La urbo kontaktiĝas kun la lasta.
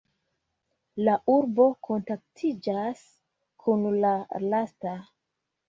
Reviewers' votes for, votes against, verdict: 2, 1, accepted